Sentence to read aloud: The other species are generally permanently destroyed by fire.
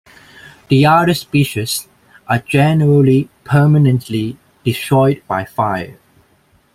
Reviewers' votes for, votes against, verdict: 1, 2, rejected